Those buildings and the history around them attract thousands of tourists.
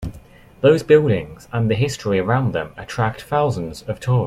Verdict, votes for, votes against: rejected, 0, 2